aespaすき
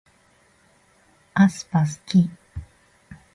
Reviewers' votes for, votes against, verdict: 0, 2, rejected